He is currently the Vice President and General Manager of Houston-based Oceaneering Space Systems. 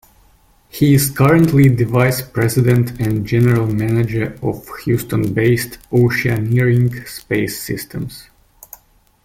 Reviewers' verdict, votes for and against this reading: accepted, 2, 0